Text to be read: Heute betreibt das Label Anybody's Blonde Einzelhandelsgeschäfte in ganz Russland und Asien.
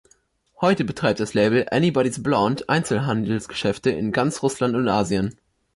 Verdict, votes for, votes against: accepted, 2, 0